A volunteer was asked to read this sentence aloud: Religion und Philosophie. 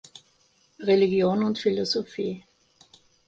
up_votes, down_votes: 2, 0